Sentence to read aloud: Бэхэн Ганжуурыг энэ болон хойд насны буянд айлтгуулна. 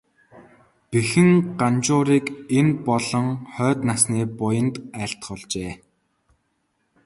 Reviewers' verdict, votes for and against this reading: accepted, 3, 0